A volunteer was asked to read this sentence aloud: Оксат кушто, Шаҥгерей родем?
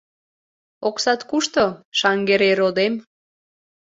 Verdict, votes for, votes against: accepted, 2, 0